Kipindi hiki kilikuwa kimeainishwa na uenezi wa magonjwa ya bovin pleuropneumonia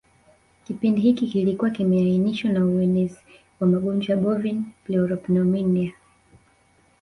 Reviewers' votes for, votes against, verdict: 0, 2, rejected